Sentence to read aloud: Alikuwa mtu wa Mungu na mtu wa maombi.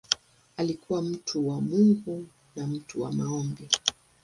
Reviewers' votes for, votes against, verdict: 2, 0, accepted